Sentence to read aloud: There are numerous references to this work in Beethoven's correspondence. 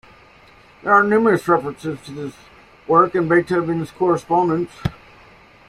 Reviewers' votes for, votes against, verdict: 2, 0, accepted